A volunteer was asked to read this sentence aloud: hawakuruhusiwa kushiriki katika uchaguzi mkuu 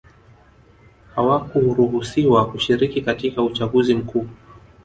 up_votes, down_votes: 1, 2